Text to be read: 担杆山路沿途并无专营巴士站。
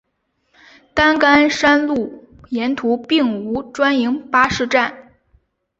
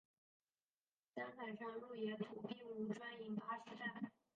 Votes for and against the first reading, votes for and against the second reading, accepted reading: 2, 0, 3, 4, first